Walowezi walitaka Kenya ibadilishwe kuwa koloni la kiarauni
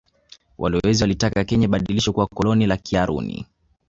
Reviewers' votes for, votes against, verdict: 0, 2, rejected